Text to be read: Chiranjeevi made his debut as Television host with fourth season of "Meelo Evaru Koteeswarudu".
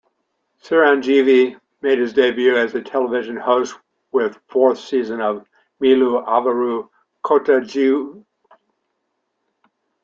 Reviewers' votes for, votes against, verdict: 0, 2, rejected